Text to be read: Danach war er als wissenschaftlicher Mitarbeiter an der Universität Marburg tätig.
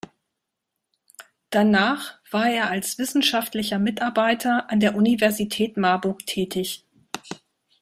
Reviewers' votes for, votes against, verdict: 0, 2, rejected